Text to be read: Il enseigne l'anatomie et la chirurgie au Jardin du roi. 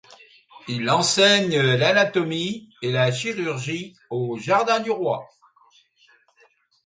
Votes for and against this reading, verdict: 3, 0, accepted